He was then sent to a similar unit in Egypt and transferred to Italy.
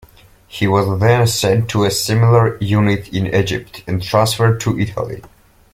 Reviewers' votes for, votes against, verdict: 2, 0, accepted